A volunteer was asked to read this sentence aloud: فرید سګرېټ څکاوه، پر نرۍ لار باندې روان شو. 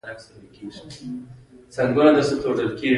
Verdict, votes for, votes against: rejected, 0, 2